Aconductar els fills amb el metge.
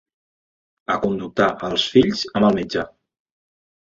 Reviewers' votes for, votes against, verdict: 1, 2, rejected